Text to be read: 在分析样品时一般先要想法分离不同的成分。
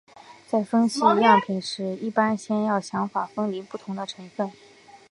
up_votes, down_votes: 2, 0